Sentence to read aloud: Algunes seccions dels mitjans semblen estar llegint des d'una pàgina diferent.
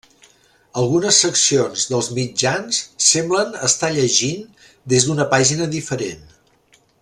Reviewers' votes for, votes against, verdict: 3, 0, accepted